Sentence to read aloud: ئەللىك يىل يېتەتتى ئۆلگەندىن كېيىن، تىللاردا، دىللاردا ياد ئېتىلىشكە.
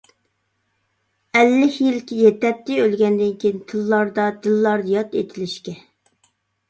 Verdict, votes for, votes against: rejected, 1, 2